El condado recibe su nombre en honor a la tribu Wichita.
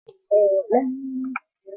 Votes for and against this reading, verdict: 0, 2, rejected